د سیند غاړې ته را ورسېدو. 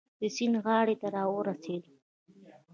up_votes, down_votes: 0, 2